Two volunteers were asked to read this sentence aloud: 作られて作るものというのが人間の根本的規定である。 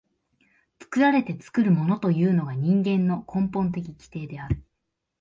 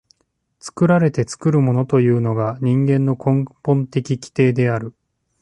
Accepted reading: first